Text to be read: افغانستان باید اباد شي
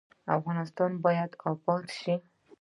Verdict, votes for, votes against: accepted, 2, 0